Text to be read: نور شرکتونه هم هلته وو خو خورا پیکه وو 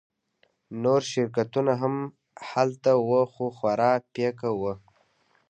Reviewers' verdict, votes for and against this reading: accepted, 2, 1